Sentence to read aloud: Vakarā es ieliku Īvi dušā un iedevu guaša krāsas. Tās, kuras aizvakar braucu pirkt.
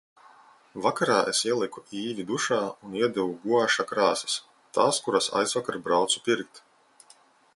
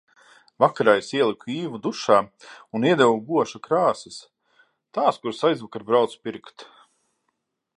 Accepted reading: first